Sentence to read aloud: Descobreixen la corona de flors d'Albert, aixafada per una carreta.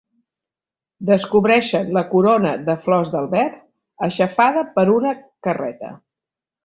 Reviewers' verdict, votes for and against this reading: accepted, 4, 0